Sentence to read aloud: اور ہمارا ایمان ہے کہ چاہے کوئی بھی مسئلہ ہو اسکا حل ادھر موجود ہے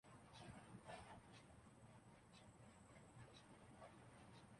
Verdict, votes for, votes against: rejected, 0, 5